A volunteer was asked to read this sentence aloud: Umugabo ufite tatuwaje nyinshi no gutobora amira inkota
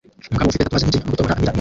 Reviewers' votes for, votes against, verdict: 0, 2, rejected